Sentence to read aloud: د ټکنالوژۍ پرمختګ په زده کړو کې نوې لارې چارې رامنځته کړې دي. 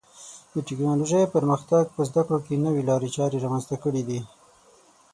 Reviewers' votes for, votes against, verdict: 6, 0, accepted